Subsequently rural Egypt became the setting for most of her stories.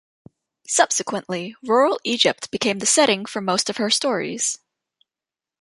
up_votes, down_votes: 2, 0